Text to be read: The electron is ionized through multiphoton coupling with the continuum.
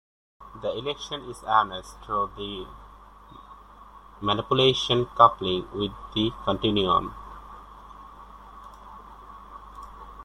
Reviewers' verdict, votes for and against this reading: rejected, 0, 2